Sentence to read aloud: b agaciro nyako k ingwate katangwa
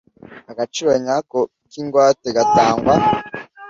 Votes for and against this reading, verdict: 1, 2, rejected